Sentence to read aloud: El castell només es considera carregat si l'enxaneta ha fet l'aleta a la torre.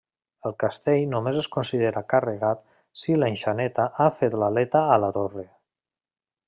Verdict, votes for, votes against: rejected, 1, 2